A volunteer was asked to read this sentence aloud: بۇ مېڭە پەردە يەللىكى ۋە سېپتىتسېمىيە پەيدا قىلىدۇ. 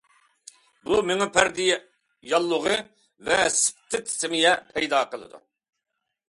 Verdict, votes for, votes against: rejected, 0, 2